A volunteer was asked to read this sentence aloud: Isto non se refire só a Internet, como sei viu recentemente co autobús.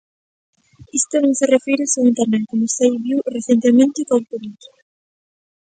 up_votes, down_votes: 0, 2